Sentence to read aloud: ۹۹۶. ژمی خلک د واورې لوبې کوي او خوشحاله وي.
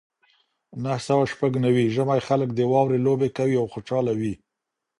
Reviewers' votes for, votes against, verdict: 0, 2, rejected